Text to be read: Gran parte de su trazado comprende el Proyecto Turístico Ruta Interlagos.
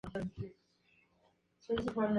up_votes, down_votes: 2, 0